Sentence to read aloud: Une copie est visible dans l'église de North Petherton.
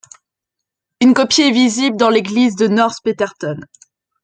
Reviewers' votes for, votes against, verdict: 2, 0, accepted